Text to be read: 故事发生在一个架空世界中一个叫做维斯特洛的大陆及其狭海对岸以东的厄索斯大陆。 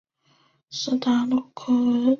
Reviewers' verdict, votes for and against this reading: accepted, 2, 1